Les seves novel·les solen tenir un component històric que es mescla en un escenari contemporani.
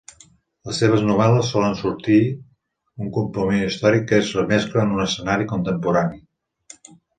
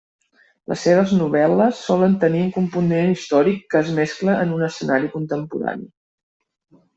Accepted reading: second